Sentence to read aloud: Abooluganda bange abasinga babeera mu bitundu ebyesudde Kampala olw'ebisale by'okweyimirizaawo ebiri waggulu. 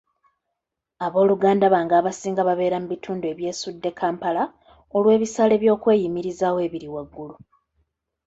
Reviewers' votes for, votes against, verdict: 2, 0, accepted